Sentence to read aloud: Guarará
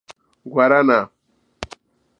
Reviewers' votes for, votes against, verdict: 0, 2, rejected